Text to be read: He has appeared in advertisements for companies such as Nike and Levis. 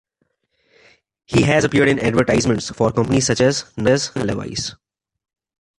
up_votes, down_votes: 1, 2